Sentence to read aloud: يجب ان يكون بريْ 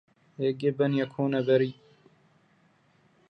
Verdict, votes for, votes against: rejected, 1, 2